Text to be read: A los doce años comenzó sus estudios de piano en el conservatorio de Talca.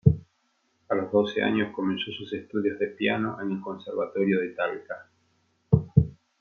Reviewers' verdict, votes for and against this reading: accepted, 2, 1